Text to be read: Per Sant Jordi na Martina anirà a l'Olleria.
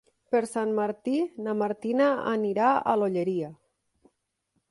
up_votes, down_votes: 1, 2